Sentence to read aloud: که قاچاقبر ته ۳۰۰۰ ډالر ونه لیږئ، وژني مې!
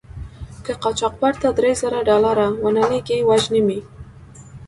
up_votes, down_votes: 0, 2